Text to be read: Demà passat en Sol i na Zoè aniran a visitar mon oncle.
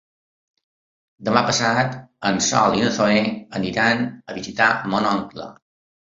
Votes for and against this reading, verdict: 3, 0, accepted